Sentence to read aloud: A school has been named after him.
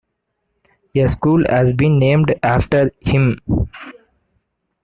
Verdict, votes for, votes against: accepted, 2, 1